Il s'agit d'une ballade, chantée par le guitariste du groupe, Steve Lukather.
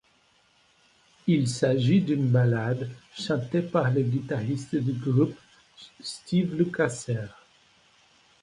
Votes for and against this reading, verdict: 2, 0, accepted